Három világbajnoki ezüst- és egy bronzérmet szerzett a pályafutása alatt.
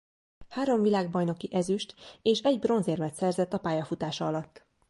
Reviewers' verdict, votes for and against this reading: accepted, 2, 0